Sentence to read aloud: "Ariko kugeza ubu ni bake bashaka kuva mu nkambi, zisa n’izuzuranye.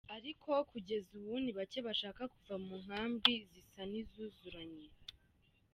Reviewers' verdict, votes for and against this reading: accepted, 2, 0